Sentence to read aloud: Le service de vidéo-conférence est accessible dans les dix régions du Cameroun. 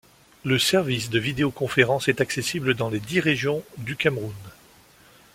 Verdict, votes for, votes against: accepted, 2, 0